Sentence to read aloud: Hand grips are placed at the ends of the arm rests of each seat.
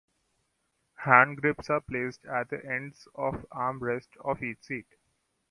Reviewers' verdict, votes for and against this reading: accepted, 2, 0